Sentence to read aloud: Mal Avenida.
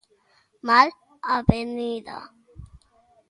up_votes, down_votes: 2, 0